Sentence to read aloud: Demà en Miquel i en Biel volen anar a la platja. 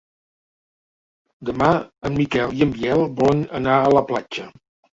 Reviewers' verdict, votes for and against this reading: accepted, 3, 1